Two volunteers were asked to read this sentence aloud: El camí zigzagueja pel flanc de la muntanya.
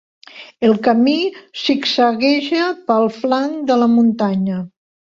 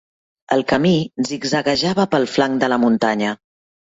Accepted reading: first